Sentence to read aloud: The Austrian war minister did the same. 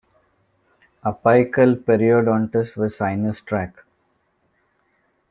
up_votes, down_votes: 0, 2